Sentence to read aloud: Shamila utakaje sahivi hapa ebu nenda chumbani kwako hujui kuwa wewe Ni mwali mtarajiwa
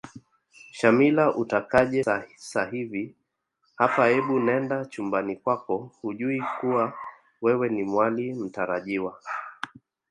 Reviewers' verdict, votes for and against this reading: accepted, 3, 0